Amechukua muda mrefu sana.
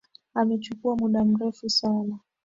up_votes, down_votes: 4, 1